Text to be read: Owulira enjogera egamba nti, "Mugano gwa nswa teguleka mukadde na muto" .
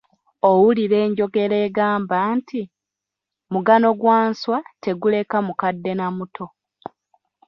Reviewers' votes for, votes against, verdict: 2, 0, accepted